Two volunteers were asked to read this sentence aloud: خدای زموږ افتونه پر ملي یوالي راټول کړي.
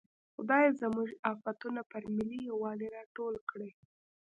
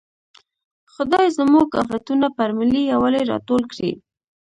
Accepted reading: first